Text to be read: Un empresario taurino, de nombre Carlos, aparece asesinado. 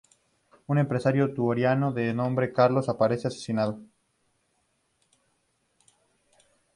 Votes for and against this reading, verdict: 0, 2, rejected